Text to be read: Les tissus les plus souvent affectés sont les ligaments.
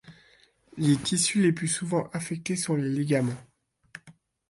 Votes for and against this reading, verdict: 2, 0, accepted